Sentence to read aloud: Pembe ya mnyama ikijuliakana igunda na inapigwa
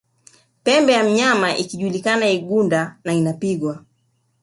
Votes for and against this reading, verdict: 2, 0, accepted